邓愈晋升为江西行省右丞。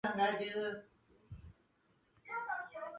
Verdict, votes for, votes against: rejected, 0, 3